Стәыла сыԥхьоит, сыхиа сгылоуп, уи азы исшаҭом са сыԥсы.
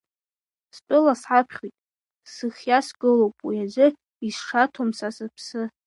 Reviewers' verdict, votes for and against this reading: rejected, 1, 2